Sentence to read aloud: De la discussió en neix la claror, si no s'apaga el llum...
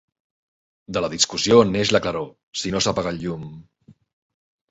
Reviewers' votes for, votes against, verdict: 3, 2, accepted